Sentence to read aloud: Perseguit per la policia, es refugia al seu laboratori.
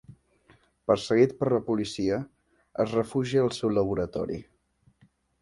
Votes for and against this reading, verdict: 0, 2, rejected